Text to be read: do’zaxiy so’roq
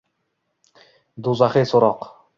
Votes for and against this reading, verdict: 2, 0, accepted